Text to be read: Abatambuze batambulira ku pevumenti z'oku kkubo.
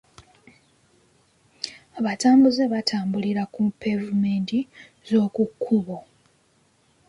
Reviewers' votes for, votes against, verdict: 3, 0, accepted